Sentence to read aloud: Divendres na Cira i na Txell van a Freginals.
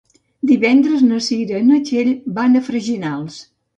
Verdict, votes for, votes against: accepted, 2, 0